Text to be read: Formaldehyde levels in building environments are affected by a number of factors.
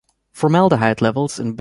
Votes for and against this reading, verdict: 0, 2, rejected